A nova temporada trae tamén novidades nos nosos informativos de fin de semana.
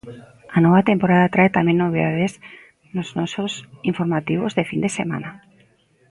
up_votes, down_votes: 1, 2